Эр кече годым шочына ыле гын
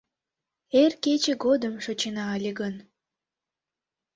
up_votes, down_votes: 2, 0